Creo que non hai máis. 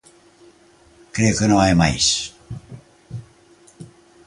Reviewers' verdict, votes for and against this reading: accepted, 2, 0